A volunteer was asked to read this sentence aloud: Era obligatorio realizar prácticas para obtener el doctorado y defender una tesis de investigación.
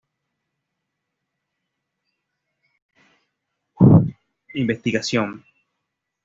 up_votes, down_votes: 0, 2